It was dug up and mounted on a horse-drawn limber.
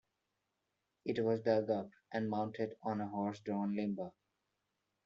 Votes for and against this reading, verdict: 0, 2, rejected